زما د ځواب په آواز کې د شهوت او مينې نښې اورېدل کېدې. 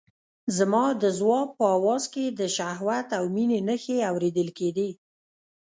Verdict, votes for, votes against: rejected, 0, 2